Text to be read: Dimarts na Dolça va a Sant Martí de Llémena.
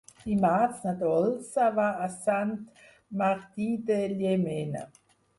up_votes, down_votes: 2, 4